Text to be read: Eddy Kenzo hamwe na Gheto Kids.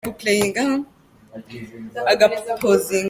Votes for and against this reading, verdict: 0, 2, rejected